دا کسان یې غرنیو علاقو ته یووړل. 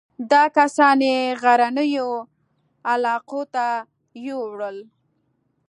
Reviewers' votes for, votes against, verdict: 2, 0, accepted